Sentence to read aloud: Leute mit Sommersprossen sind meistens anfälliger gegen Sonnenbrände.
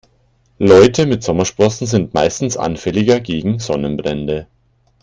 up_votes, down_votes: 2, 0